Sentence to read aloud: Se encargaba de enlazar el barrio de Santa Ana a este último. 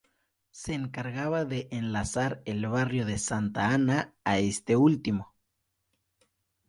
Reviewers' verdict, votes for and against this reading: accepted, 4, 0